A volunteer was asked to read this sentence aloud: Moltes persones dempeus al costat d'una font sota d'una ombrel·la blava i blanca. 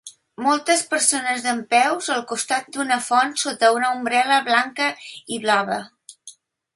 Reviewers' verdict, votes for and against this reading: rejected, 0, 2